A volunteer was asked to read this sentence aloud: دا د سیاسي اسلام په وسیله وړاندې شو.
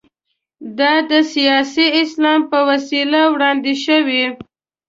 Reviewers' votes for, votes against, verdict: 1, 2, rejected